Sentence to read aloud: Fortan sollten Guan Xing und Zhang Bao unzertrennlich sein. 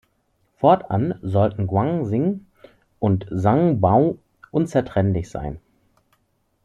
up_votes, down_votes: 2, 0